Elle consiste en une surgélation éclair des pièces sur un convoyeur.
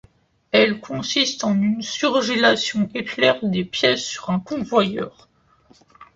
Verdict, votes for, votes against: accepted, 2, 0